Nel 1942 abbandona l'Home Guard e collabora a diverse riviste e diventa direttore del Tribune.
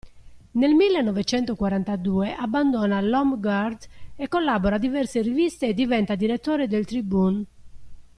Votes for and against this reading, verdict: 0, 2, rejected